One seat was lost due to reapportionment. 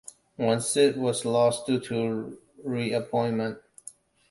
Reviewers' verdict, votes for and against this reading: rejected, 0, 2